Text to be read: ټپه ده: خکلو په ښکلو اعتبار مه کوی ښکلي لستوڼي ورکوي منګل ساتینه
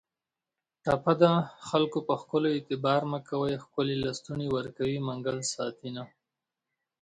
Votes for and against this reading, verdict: 2, 0, accepted